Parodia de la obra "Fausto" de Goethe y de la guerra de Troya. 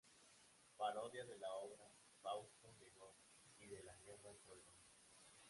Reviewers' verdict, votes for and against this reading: rejected, 0, 2